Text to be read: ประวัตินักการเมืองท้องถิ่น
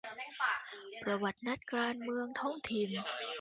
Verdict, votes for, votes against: rejected, 0, 2